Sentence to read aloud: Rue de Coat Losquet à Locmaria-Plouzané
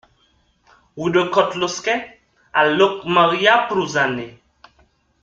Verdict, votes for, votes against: accepted, 2, 1